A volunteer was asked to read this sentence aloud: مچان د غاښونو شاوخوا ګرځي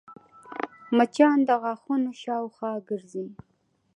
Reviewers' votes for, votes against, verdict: 2, 1, accepted